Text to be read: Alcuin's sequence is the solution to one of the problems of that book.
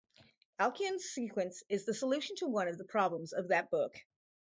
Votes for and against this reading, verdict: 2, 2, rejected